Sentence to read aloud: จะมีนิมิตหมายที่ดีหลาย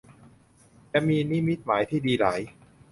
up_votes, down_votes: 2, 0